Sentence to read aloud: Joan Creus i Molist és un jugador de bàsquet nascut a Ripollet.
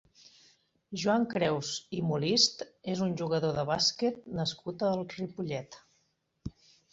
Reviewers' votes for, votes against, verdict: 3, 1, accepted